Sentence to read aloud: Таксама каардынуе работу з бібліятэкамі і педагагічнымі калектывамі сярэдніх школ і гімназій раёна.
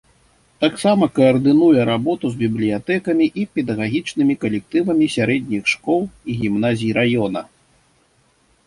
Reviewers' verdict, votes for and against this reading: accepted, 2, 0